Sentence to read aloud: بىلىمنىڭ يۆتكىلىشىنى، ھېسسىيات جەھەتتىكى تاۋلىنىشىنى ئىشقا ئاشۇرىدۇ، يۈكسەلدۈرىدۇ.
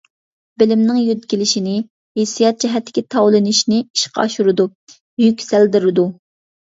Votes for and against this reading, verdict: 2, 0, accepted